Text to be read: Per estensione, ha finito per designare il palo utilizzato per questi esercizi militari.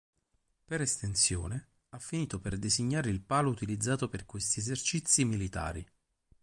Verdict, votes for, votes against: rejected, 2, 2